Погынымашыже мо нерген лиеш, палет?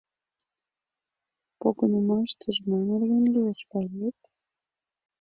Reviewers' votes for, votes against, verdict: 0, 2, rejected